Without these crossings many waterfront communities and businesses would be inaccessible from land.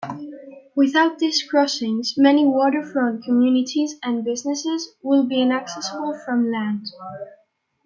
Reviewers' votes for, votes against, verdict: 2, 0, accepted